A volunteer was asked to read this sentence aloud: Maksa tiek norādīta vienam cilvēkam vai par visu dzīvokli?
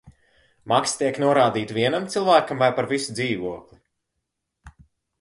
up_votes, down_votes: 3, 0